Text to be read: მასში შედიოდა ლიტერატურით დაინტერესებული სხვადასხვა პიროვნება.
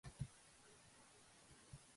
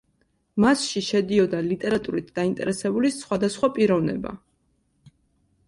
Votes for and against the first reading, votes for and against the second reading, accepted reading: 1, 2, 2, 0, second